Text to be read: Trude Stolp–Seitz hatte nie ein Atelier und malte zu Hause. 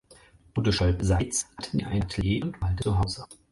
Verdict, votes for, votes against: rejected, 0, 4